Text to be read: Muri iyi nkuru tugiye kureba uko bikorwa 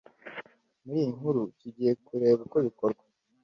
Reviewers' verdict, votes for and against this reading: accepted, 2, 0